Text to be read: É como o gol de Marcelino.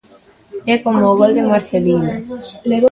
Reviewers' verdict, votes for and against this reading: rejected, 0, 2